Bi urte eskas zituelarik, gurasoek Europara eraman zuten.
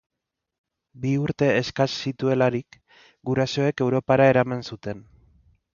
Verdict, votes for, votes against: accepted, 2, 0